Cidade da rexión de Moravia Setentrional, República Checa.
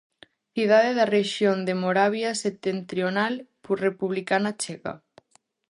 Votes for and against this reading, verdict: 0, 2, rejected